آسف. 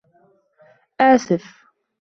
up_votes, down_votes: 2, 0